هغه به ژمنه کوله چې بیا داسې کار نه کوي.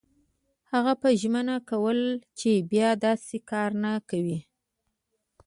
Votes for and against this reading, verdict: 2, 0, accepted